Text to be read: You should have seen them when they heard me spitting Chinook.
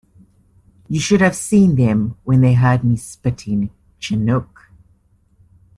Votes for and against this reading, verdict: 2, 0, accepted